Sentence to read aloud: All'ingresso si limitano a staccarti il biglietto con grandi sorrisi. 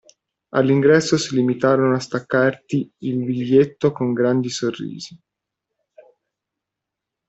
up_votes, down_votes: 0, 2